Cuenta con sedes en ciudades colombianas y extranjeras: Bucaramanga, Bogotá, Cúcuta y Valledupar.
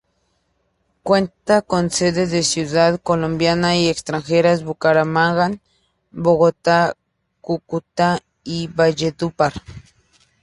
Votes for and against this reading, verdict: 0, 2, rejected